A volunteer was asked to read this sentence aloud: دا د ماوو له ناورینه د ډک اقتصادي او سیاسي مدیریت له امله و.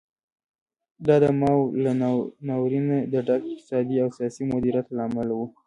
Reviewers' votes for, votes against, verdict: 2, 0, accepted